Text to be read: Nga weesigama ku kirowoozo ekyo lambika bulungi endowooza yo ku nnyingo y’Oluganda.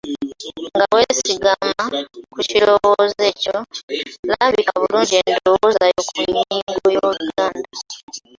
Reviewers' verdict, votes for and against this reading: rejected, 1, 2